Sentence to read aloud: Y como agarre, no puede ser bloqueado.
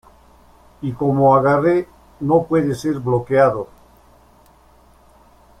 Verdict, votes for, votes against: accepted, 2, 0